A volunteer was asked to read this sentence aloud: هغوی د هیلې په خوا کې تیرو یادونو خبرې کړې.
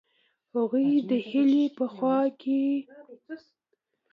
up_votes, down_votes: 0, 2